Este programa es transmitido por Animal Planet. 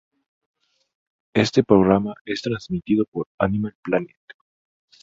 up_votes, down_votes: 2, 0